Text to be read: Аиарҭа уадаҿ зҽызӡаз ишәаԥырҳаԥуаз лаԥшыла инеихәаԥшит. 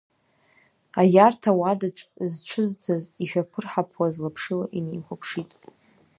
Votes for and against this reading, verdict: 0, 2, rejected